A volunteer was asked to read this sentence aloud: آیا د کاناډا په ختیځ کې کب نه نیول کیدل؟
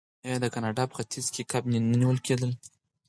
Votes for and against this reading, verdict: 4, 2, accepted